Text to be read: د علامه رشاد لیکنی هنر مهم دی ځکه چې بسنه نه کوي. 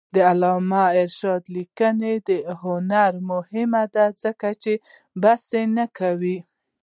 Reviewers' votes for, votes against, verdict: 2, 0, accepted